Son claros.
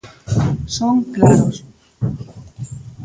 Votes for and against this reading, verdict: 0, 2, rejected